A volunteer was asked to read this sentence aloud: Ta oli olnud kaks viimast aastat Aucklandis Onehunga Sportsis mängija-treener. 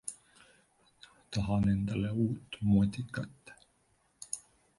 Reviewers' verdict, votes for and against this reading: rejected, 1, 2